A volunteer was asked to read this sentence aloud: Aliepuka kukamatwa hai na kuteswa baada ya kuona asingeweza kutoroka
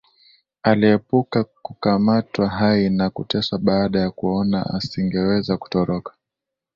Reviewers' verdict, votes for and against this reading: accepted, 4, 0